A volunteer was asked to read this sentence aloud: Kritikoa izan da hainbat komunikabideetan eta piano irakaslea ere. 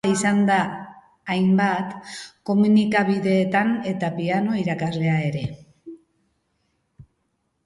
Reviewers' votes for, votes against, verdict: 3, 2, accepted